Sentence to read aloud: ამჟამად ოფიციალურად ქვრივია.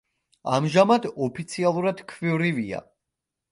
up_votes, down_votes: 1, 2